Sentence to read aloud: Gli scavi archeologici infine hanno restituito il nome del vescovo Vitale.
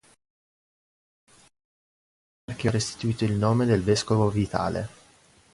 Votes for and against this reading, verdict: 0, 2, rejected